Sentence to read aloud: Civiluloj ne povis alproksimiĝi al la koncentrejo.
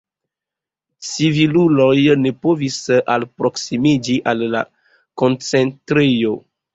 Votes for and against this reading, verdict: 1, 2, rejected